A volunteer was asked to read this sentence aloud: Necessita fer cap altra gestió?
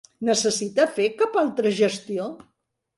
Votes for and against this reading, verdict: 3, 0, accepted